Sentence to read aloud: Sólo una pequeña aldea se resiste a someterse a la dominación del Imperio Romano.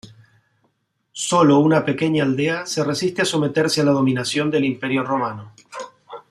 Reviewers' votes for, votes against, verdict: 2, 0, accepted